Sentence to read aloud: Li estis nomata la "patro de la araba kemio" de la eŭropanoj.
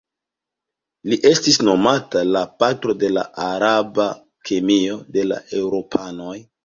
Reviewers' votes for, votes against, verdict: 2, 0, accepted